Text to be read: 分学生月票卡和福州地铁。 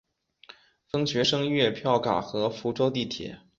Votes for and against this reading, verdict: 2, 0, accepted